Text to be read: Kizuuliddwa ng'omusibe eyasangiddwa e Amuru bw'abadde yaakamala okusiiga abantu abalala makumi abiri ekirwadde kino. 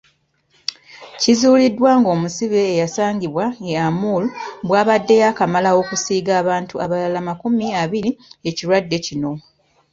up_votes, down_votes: 0, 2